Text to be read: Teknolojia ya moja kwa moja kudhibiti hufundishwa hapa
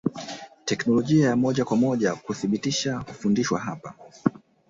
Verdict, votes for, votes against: accepted, 2, 1